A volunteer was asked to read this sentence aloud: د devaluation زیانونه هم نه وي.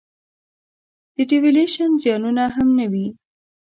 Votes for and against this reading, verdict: 0, 2, rejected